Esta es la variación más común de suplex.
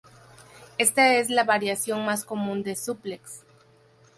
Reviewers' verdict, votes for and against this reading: accepted, 4, 0